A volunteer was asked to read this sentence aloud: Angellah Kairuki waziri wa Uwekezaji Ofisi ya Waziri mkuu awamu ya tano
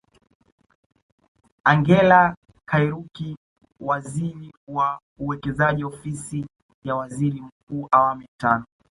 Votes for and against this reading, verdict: 2, 0, accepted